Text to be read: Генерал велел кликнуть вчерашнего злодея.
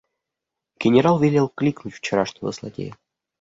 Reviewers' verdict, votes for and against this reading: accepted, 2, 1